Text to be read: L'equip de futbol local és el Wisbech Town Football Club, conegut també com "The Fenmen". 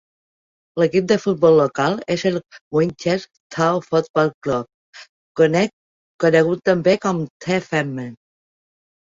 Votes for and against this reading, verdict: 1, 4, rejected